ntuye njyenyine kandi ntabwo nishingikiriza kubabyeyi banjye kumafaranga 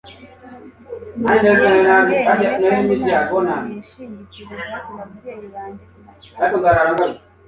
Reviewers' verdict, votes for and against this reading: rejected, 1, 2